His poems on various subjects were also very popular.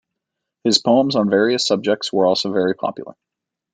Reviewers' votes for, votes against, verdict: 2, 0, accepted